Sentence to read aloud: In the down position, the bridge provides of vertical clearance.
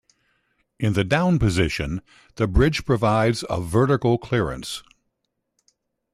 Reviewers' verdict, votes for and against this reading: accepted, 2, 0